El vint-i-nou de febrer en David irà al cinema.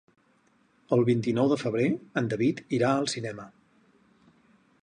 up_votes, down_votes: 4, 0